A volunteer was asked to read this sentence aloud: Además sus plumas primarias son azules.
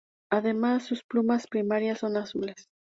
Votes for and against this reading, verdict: 4, 0, accepted